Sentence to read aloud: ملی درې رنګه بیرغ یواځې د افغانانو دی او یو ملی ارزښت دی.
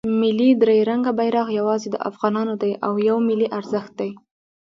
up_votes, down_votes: 1, 2